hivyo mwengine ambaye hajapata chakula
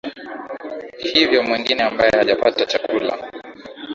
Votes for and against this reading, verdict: 3, 0, accepted